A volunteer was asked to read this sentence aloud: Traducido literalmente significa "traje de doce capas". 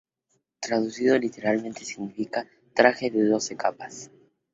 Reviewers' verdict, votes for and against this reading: accepted, 2, 0